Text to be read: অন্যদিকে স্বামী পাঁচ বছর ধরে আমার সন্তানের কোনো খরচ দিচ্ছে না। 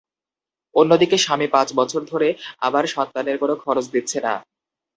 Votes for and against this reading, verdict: 2, 0, accepted